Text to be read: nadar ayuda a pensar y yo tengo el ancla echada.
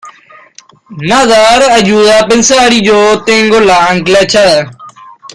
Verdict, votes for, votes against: accepted, 2, 1